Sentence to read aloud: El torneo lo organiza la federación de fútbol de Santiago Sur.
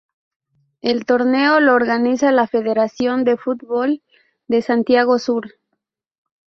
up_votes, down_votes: 4, 0